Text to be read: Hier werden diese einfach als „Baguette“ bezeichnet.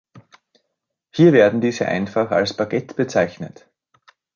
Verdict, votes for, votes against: accepted, 2, 0